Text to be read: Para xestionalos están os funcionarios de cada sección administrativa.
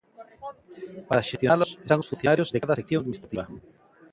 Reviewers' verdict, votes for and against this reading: rejected, 0, 2